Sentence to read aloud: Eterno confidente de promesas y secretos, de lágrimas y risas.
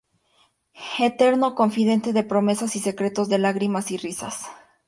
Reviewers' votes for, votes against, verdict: 2, 0, accepted